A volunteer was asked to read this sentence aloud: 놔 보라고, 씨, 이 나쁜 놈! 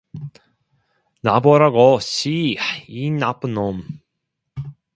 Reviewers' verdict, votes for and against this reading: accepted, 2, 0